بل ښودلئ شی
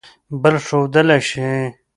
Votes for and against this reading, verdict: 2, 1, accepted